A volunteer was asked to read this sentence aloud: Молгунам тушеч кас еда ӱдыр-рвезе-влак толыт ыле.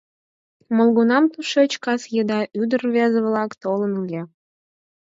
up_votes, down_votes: 0, 4